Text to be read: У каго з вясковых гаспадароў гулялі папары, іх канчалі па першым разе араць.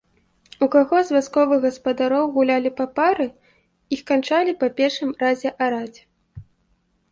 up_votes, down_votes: 2, 0